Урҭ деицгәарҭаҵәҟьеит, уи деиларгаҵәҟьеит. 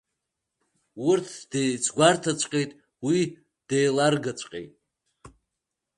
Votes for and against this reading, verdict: 2, 1, accepted